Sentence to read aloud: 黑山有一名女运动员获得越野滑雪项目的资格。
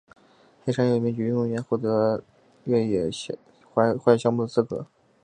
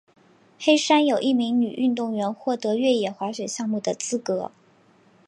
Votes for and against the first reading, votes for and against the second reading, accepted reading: 1, 2, 3, 0, second